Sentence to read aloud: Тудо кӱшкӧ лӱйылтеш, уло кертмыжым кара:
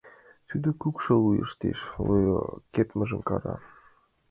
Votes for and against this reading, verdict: 0, 2, rejected